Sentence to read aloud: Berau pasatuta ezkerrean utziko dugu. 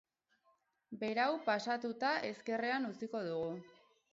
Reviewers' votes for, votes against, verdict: 2, 2, rejected